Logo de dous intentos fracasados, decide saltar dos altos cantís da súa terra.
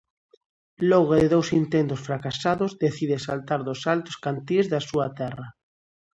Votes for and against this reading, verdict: 2, 0, accepted